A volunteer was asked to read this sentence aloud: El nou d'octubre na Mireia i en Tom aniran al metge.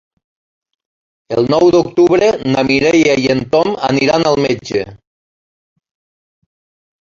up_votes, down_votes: 3, 1